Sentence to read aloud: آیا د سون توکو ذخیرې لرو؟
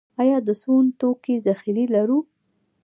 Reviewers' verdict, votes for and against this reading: rejected, 1, 2